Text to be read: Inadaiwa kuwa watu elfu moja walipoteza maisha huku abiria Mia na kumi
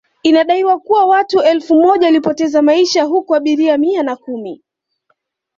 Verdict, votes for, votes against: accepted, 2, 0